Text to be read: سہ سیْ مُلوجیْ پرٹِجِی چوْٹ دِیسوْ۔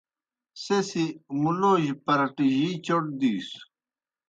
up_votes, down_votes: 0, 2